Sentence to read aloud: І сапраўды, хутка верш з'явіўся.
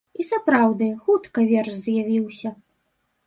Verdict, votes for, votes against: rejected, 0, 2